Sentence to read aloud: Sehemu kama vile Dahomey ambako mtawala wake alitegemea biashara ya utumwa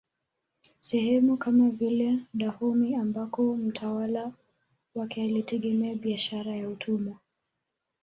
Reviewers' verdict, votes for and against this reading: rejected, 1, 2